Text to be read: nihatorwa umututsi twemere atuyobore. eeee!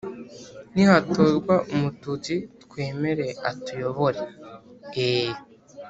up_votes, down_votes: 3, 0